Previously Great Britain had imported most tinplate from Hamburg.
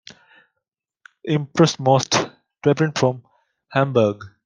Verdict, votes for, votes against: rejected, 0, 2